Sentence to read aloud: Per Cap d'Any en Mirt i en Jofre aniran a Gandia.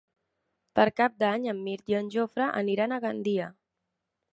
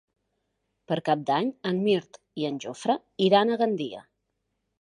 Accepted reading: first